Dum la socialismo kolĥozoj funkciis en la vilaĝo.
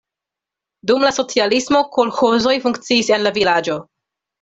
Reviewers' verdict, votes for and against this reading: accepted, 2, 0